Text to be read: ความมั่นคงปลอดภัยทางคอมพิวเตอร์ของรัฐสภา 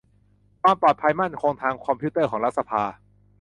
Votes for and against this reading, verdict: 0, 2, rejected